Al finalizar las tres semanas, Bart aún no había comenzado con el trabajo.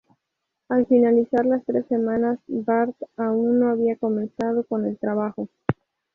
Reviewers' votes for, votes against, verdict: 2, 0, accepted